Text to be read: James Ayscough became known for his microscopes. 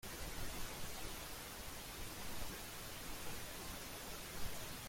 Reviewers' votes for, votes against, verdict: 0, 2, rejected